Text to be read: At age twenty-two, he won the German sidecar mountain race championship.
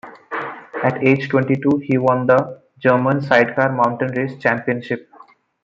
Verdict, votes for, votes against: accepted, 2, 0